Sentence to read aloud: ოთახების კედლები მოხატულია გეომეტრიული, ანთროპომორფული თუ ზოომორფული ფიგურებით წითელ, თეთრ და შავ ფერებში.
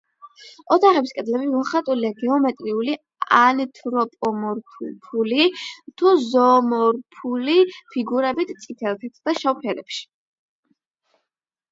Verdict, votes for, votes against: rejected, 4, 8